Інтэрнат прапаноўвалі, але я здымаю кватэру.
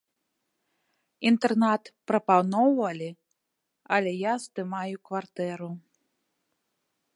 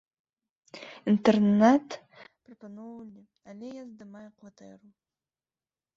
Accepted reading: first